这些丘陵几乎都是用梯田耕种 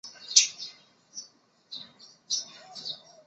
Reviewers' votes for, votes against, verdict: 1, 2, rejected